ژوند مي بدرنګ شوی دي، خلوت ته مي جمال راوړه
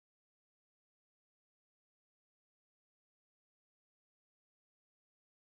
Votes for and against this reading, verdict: 1, 2, rejected